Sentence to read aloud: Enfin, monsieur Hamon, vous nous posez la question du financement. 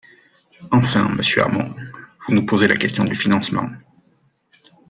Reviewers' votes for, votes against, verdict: 2, 0, accepted